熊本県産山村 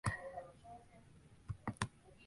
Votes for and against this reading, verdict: 0, 3, rejected